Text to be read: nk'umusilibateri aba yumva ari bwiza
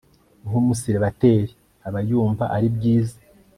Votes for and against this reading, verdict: 3, 0, accepted